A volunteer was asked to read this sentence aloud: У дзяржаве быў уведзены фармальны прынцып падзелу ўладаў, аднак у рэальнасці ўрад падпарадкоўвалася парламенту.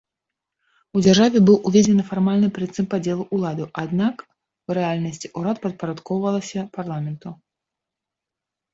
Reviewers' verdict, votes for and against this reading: accepted, 3, 0